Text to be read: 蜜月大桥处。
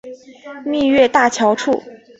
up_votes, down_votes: 4, 0